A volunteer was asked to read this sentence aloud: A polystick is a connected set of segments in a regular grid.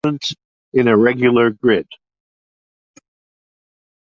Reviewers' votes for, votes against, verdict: 0, 2, rejected